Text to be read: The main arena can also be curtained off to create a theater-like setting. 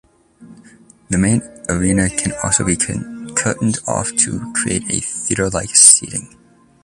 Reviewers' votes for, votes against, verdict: 0, 2, rejected